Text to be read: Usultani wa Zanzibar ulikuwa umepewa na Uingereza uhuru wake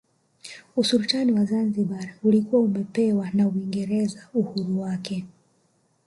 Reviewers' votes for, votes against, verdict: 2, 1, accepted